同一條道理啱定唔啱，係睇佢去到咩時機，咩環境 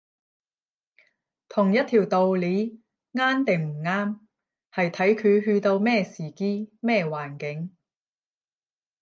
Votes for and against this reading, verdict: 0, 10, rejected